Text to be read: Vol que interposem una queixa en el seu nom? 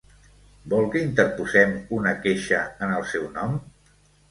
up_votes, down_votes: 2, 0